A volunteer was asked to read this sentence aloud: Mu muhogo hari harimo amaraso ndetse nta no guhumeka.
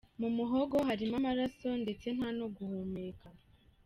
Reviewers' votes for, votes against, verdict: 2, 1, accepted